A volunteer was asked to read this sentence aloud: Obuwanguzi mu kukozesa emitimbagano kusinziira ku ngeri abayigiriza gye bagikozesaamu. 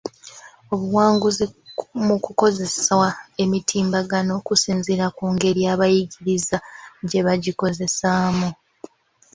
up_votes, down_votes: 0, 2